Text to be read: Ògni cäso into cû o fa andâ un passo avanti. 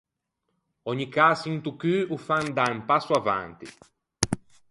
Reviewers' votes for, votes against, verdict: 4, 0, accepted